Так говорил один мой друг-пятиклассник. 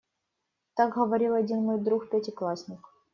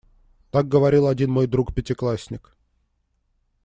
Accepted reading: second